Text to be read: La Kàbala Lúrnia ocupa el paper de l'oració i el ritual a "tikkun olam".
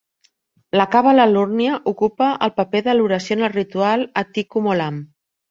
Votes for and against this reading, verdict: 1, 2, rejected